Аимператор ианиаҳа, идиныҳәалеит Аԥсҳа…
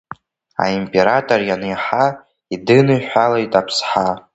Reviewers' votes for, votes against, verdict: 2, 1, accepted